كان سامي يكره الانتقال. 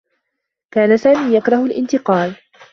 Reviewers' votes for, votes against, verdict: 2, 0, accepted